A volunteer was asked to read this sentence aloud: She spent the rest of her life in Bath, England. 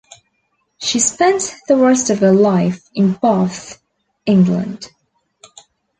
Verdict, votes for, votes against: rejected, 0, 2